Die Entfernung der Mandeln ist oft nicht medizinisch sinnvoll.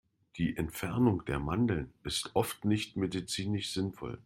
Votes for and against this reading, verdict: 2, 0, accepted